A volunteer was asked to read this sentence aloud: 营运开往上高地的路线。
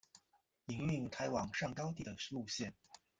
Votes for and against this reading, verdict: 0, 2, rejected